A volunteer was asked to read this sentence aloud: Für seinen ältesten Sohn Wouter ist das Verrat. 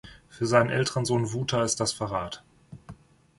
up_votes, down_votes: 0, 2